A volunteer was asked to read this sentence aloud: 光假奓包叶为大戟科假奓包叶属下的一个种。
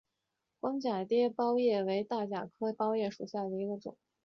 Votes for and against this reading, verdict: 4, 0, accepted